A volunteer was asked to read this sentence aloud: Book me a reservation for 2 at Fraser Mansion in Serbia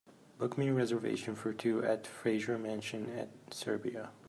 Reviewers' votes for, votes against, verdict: 0, 2, rejected